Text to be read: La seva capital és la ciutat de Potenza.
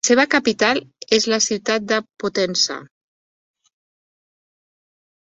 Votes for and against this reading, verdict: 3, 0, accepted